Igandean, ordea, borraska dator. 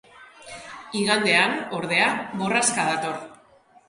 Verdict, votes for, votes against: rejected, 1, 2